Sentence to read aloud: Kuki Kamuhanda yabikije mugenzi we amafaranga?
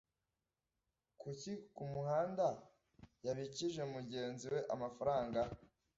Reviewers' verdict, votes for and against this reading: rejected, 1, 2